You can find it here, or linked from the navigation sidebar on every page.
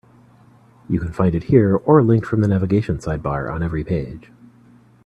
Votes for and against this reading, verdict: 2, 0, accepted